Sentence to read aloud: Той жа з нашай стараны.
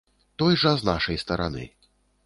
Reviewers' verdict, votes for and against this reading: accepted, 2, 0